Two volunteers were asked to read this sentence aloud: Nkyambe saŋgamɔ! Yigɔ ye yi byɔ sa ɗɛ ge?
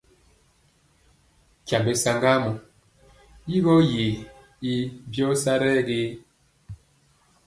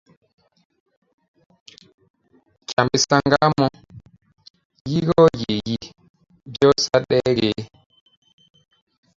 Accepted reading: first